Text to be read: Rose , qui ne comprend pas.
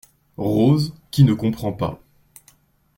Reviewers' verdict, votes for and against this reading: accepted, 2, 0